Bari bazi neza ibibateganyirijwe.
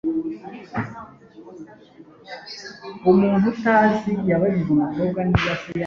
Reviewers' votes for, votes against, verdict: 0, 2, rejected